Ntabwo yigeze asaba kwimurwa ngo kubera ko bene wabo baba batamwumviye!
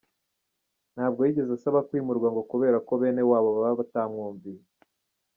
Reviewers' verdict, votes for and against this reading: accepted, 2, 1